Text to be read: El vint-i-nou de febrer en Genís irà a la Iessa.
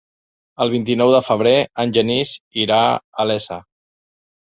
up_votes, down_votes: 0, 2